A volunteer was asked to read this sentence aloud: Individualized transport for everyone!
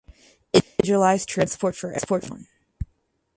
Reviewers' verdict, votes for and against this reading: rejected, 0, 2